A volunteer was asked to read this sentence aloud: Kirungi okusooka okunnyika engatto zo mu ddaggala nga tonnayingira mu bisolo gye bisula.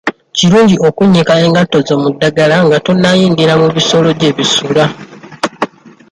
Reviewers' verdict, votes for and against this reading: rejected, 1, 2